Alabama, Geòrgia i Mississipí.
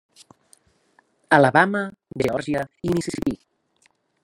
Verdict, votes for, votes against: rejected, 0, 2